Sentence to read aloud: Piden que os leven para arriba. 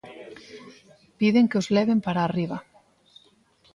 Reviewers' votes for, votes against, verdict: 1, 2, rejected